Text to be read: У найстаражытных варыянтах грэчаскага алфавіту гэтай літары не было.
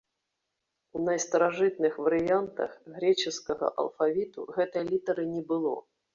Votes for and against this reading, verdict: 0, 2, rejected